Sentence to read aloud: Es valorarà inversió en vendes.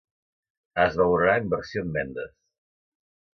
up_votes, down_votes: 0, 2